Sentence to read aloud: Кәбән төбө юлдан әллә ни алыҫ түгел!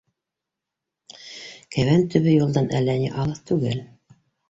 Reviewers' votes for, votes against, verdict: 2, 3, rejected